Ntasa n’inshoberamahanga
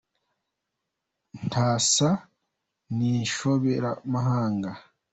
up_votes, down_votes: 2, 1